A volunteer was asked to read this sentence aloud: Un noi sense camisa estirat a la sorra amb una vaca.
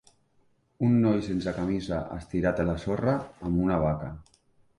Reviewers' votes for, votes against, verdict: 3, 0, accepted